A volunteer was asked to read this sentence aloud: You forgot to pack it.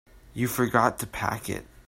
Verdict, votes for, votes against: accepted, 3, 1